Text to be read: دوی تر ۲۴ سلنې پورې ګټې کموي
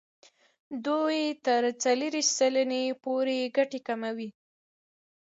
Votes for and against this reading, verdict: 0, 2, rejected